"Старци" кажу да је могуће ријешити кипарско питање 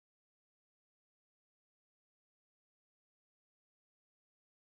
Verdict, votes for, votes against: rejected, 0, 2